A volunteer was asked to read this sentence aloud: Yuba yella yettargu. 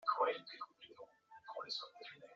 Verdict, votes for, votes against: rejected, 0, 2